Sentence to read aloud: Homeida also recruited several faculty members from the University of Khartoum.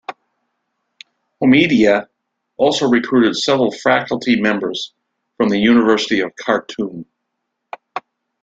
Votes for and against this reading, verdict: 2, 0, accepted